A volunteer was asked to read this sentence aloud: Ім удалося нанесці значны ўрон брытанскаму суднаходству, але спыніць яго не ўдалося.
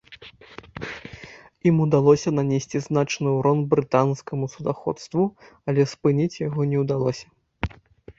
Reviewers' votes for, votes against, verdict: 0, 2, rejected